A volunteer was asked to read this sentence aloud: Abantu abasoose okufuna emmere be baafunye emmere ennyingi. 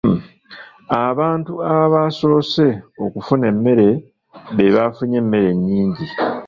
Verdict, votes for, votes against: rejected, 1, 2